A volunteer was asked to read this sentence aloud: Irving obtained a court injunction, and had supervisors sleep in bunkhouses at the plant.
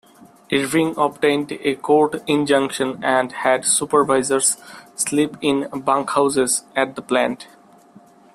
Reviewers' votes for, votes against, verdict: 2, 0, accepted